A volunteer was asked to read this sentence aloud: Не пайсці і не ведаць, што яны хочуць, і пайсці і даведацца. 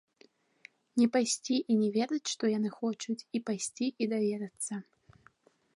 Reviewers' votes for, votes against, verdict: 2, 0, accepted